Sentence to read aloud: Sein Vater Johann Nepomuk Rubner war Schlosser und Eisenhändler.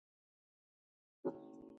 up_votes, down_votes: 0, 2